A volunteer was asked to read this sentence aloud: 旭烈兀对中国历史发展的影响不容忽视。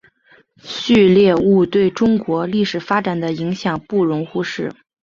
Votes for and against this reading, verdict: 2, 1, accepted